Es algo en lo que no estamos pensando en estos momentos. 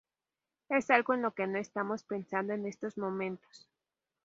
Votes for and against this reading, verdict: 0, 2, rejected